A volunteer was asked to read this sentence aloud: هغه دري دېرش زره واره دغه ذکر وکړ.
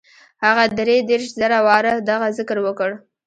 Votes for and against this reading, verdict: 1, 2, rejected